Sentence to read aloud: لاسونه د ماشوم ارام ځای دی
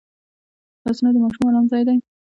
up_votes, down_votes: 2, 0